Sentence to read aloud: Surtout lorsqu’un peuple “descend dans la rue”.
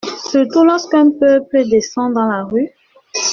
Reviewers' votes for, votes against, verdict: 2, 0, accepted